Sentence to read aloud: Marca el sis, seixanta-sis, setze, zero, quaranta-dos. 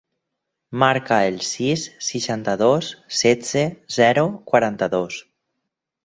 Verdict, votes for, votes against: rejected, 0, 4